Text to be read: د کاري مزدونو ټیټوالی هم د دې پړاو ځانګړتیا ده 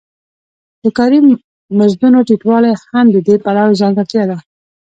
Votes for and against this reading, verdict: 2, 0, accepted